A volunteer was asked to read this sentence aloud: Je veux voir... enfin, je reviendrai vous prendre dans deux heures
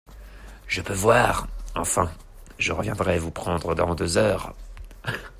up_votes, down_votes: 2, 0